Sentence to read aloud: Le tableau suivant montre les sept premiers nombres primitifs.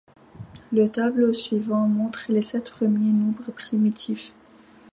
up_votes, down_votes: 2, 0